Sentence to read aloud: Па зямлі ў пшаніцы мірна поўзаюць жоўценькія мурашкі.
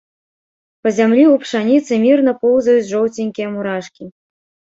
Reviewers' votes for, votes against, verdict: 2, 0, accepted